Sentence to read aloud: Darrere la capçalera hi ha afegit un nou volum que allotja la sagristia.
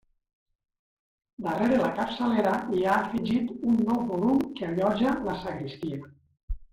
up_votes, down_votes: 0, 2